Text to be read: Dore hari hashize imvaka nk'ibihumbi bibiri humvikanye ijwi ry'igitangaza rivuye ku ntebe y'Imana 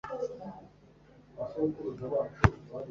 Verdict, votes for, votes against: rejected, 0, 2